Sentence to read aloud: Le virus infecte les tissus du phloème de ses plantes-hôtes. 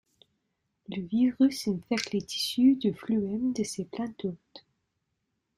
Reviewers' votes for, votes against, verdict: 1, 2, rejected